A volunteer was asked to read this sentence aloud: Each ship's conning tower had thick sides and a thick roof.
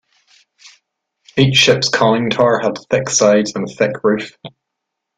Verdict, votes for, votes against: accepted, 2, 1